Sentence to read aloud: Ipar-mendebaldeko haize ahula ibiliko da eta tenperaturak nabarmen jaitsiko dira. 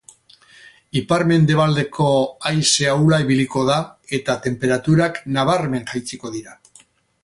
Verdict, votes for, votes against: accepted, 4, 0